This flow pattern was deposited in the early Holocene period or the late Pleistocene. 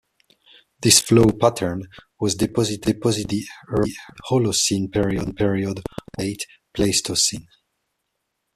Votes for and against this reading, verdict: 0, 2, rejected